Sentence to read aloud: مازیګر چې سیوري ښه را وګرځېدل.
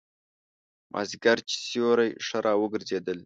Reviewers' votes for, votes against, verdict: 2, 1, accepted